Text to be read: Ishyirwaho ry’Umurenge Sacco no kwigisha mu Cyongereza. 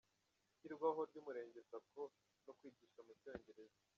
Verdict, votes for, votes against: rejected, 1, 2